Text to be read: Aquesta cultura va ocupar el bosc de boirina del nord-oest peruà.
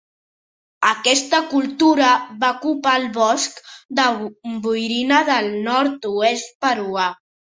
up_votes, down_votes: 1, 2